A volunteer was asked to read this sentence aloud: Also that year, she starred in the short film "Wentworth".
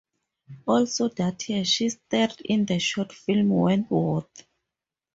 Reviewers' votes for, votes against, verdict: 0, 2, rejected